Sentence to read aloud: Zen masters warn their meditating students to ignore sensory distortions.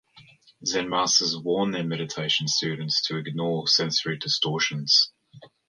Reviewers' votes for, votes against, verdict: 2, 0, accepted